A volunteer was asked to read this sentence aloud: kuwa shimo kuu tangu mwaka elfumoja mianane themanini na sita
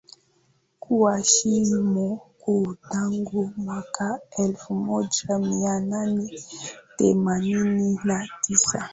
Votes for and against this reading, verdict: 4, 2, accepted